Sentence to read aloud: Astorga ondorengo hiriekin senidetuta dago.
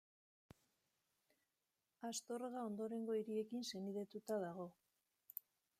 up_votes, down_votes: 0, 2